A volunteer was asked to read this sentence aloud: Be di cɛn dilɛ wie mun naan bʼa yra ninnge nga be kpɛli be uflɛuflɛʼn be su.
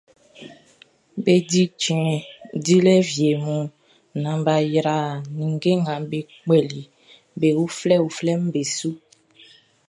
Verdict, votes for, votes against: rejected, 1, 2